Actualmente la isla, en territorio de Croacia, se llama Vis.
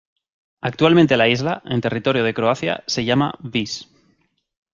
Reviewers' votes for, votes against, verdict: 2, 0, accepted